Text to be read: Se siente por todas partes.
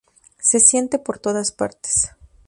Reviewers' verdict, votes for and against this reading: accepted, 2, 0